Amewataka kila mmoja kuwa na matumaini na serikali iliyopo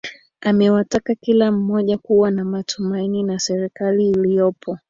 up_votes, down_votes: 2, 1